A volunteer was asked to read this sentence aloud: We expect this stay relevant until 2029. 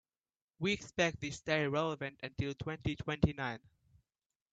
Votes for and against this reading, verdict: 0, 2, rejected